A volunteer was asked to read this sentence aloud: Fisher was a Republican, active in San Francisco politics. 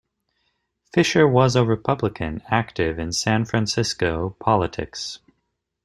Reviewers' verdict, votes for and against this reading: accepted, 2, 0